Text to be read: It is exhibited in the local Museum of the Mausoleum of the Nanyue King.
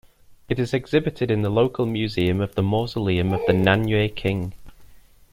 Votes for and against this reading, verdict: 2, 1, accepted